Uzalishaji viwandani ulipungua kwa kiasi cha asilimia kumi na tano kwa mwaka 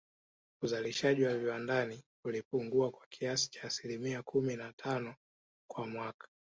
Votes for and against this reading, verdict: 3, 0, accepted